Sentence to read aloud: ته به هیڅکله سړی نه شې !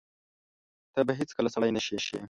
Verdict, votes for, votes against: rejected, 0, 2